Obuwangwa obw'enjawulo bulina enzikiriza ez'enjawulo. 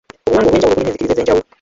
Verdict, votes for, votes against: rejected, 0, 2